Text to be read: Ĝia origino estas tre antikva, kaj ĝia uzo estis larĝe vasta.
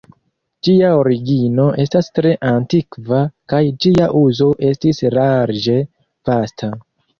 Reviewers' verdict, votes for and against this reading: accepted, 2, 1